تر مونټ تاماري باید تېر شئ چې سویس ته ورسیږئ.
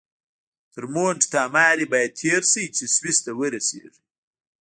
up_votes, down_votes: 1, 2